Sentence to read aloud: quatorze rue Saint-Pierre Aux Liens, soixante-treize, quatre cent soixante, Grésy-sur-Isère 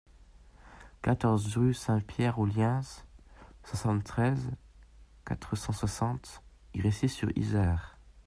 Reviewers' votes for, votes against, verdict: 1, 2, rejected